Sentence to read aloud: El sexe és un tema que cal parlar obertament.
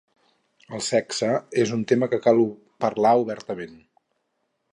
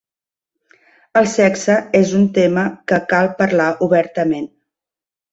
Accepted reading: second